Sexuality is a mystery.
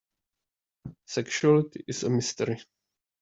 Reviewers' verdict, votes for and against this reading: rejected, 1, 2